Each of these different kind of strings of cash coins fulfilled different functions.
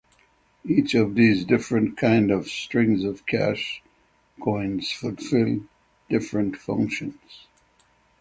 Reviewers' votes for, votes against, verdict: 6, 0, accepted